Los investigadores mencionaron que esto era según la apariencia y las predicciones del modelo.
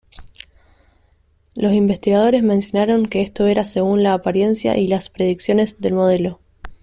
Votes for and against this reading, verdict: 2, 0, accepted